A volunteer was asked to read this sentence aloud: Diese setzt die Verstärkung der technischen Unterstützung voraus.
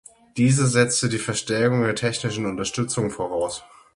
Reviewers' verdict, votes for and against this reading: rejected, 3, 6